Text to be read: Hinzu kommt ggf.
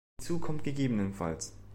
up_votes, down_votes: 1, 2